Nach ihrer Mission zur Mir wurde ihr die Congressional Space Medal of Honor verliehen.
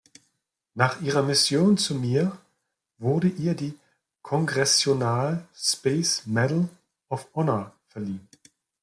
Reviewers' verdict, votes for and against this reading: rejected, 0, 2